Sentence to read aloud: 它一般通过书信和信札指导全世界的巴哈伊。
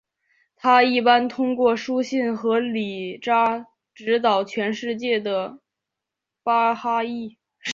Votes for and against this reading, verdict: 6, 2, accepted